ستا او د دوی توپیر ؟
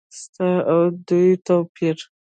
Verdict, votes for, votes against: rejected, 0, 2